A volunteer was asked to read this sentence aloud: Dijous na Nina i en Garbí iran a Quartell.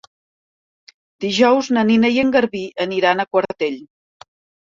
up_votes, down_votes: 1, 2